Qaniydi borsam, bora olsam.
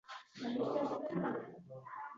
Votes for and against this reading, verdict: 0, 2, rejected